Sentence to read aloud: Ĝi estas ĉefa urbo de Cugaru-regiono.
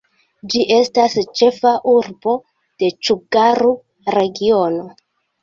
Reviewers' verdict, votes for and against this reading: rejected, 0, 2